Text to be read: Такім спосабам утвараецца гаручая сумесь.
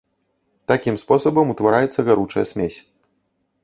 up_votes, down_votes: 1, 2